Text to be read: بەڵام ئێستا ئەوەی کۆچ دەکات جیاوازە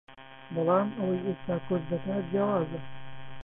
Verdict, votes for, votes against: rejected, 0, 2